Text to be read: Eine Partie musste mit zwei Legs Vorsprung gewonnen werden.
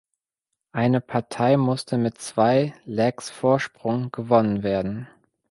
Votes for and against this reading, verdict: 1, 2, rejected